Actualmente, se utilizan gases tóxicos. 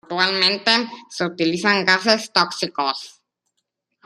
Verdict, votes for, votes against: rejected, 0, 2